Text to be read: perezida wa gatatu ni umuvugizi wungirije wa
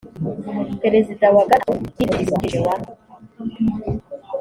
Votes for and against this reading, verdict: 2, 1, accepted